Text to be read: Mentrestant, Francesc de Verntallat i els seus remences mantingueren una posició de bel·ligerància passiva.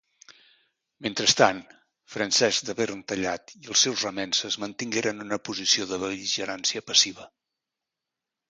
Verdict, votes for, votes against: accepted, 2, 0